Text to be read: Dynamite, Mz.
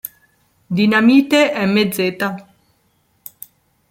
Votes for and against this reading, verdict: 1, 2, rejected